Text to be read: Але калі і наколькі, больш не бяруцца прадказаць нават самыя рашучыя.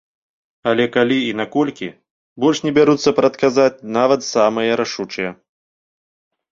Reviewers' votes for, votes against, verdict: 2, 0, accepted